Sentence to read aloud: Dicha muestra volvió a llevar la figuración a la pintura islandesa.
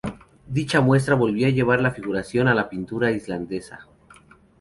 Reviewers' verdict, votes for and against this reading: rejected, 0, 2